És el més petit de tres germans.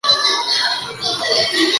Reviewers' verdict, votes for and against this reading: rejected, 0, 3